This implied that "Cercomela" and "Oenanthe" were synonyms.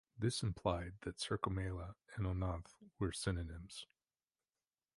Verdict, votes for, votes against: accepted, 2, 0